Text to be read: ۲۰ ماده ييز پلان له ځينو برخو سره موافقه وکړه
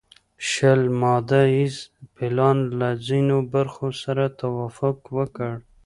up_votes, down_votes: 0, 2